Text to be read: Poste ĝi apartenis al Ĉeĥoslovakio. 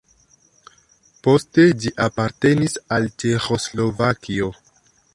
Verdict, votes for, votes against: rejected, 1, 2